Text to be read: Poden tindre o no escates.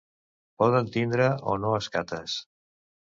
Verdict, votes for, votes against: accepted, 2, 0